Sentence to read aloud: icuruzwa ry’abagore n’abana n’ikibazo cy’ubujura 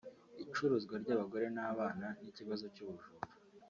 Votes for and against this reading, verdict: 2, 0, accepted